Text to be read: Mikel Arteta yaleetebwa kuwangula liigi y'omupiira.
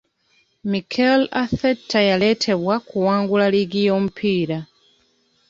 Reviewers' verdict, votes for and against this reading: rejected, 0, 2